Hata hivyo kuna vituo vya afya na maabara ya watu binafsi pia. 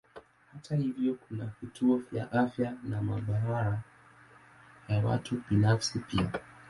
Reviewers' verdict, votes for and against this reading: rejected, 2, 3